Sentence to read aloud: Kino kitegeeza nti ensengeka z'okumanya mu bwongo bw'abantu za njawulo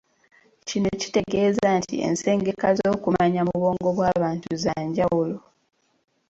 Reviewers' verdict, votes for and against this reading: accepted, 2, 0